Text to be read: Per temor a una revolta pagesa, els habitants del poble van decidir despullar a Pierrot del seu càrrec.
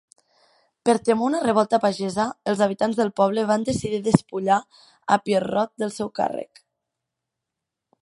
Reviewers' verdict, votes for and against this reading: rejected, 1, 2